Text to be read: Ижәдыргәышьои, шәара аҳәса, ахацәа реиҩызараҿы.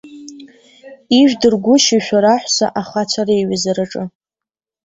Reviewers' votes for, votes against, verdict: 1, 2, rejected